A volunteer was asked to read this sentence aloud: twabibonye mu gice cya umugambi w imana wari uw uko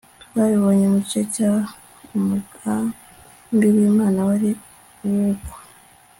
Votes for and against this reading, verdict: 2, 0, accepted